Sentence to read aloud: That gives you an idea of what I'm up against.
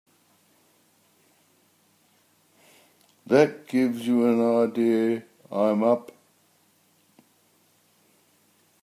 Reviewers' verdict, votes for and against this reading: rejected, 0, 2